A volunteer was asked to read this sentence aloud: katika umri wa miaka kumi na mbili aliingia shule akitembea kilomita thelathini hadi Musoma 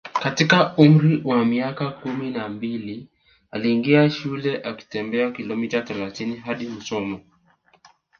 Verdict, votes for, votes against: accepted, 3, 0